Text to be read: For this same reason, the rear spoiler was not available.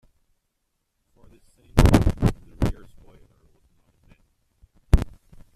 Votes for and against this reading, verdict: 0, 2, rejected